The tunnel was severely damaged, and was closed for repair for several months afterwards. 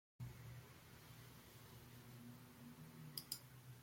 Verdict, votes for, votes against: rejected, 0, 2